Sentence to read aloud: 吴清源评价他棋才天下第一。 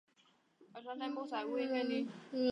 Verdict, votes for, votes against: rejected, 0, 2